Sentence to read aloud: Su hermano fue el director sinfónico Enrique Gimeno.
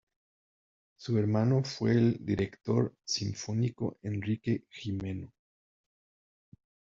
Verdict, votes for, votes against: accepted, 2, 1